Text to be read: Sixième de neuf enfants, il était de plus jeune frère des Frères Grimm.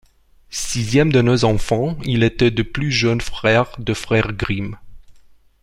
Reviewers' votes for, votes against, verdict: 1, 2, rejected